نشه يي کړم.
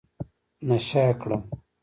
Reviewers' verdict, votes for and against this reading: rejected, 1, 2